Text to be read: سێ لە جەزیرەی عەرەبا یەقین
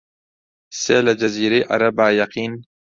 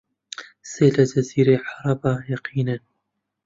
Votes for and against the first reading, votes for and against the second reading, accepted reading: 2, 0, 1, 2, first